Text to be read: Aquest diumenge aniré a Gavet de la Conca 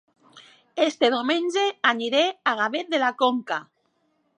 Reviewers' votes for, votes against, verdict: 0, 2, rejected